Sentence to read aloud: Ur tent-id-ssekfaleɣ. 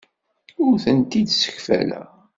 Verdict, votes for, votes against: accepted, 2, 0